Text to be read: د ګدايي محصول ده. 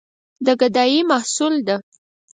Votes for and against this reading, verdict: 4, 0, accepted